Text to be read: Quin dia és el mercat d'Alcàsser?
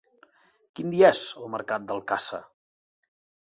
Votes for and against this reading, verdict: 1, 3, rejected